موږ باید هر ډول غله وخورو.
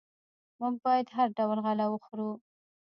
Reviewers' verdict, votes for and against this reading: rejected, 1, 2